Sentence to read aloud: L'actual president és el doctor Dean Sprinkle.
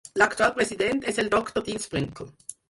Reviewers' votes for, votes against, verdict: 2, 4, rejected